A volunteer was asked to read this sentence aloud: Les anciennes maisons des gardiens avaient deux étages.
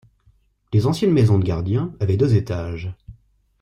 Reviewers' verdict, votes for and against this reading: accepted, 2, 1